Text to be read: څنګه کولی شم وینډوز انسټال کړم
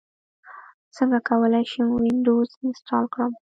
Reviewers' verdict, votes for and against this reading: accepted, 2, 0